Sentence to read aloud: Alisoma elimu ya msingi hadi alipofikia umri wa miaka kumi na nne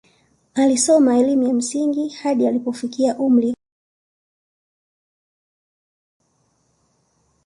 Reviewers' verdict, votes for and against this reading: rejected, 0, 2